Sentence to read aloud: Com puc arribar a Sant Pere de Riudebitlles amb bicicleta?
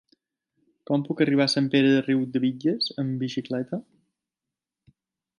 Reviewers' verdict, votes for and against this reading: accepted, 2, 0